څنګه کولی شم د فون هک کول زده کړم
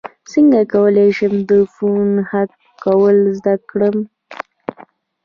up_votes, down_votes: 1, 2